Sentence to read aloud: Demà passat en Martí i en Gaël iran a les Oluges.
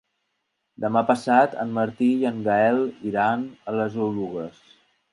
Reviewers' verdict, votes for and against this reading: accepted, 2, 0